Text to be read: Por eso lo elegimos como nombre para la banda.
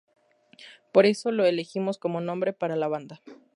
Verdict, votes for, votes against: accepted, 2, 0